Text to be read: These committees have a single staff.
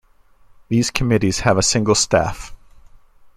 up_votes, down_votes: 2, 0